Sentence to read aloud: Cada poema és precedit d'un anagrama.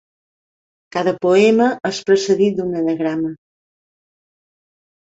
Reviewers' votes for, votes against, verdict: 2, 0, accepted